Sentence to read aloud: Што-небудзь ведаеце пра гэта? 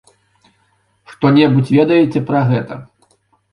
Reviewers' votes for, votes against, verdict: 3, 0, accepted